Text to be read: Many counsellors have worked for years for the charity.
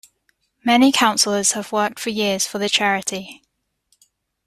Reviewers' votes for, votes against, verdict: 2, 0, accepted